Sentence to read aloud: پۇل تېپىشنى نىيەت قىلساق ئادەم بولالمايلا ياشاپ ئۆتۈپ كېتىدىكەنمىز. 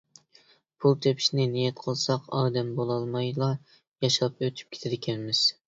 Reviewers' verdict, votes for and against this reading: accepted, 2, 0